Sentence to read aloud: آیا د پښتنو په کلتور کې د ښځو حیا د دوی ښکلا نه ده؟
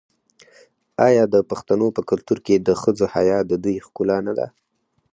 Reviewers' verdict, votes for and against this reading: accepted, 4, 0